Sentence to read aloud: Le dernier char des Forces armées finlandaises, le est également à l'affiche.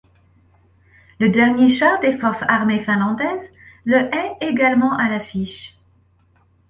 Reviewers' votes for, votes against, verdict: 2, 0, accepted